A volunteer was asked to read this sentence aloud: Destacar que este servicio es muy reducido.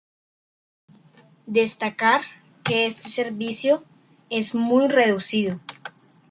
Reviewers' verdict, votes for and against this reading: accepted, 2, 1